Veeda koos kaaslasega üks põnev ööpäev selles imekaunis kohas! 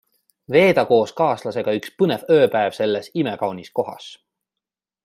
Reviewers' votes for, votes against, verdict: 2, 0, accepted